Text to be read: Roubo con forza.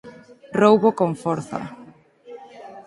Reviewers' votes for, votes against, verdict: 4, 0, accepted